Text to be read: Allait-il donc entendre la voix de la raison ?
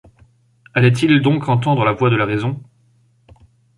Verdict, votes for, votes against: accepted, 2, 0